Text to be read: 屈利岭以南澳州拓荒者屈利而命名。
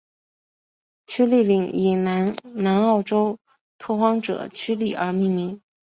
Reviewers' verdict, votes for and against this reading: rejected, 1, 2